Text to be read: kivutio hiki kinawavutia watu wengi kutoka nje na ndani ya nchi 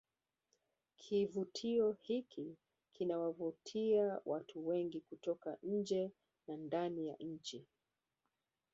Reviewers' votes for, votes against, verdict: 2, 0, accepted